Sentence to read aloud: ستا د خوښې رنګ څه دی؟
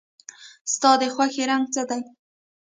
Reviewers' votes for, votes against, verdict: 2, 0, accepted